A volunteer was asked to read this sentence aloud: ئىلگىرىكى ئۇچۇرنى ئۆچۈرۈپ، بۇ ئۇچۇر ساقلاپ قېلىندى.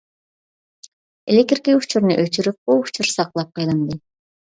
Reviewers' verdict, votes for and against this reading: rejected, 0, 2